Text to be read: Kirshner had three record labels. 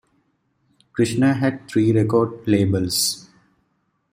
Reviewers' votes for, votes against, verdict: 0, 2, rejected